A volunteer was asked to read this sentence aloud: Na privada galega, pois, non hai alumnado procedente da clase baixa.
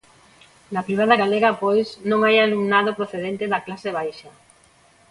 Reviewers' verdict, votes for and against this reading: accepted, 2, 0